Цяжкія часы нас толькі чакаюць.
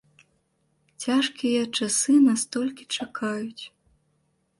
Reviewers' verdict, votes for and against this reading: accepted, 2, 0